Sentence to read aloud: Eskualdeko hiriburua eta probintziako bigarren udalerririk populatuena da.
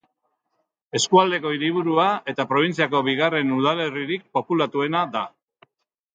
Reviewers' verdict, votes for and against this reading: accepted, 2, 0